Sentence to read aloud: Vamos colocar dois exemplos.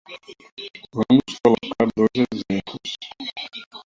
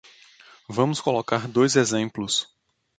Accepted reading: second